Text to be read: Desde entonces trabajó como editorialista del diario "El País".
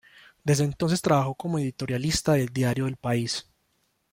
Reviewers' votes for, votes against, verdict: 1, 2, rejected